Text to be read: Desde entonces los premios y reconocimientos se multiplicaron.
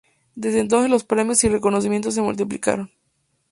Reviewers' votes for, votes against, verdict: 4, 0, accepted